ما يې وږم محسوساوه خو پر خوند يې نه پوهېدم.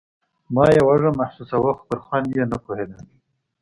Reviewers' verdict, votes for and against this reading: accepted, 2, 0